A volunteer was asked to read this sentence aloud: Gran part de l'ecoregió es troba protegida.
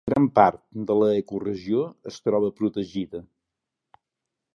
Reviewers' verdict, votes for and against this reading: rejected, 1, 2